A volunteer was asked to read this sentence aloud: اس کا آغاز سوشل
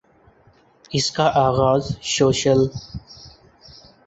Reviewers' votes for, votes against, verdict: 0, 2, rejected